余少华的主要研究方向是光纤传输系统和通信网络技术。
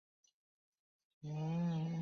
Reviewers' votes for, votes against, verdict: 0, 2, rejected